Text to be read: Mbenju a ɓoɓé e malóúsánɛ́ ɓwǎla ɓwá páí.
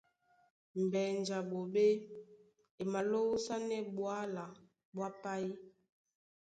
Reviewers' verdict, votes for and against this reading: accepted, 2, 0